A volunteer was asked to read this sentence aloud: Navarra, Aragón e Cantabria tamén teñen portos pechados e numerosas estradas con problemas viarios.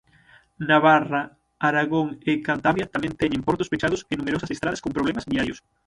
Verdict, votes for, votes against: rejected, 0, 6